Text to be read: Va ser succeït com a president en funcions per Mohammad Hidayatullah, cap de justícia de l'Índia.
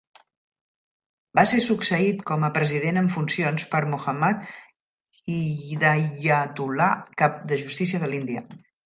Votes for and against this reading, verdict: 1, 2, rejected